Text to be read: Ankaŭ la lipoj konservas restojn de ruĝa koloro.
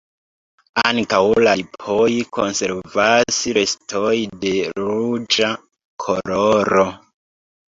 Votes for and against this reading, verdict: 1, 2, rejected